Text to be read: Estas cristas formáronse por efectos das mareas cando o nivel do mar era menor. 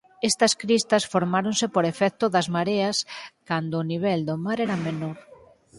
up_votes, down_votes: 4, 0